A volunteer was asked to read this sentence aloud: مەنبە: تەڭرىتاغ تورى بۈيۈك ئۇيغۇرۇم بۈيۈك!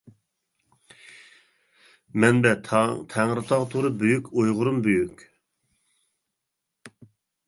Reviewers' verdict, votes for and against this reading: rejected, 1, 2